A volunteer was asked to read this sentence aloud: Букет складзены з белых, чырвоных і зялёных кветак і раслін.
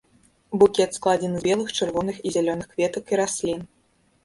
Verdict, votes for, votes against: rejected, 0, 2